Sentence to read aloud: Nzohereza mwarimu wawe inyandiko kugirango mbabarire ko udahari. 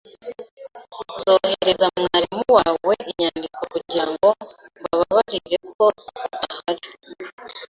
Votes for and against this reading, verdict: 3, 0, accepted